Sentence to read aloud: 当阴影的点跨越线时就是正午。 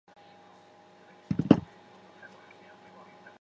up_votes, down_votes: 0, 4